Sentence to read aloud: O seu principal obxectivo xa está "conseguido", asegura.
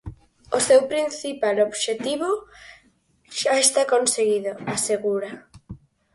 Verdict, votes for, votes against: accepted, 4, 0